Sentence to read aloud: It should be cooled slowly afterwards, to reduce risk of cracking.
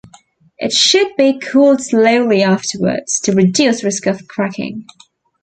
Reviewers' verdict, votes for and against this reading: accepted, 2, 0